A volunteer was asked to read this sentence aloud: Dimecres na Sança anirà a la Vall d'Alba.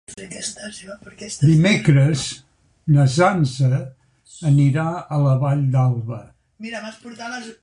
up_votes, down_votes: 0, 2